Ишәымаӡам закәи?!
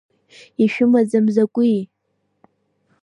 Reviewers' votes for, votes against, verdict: 2, 1, accepted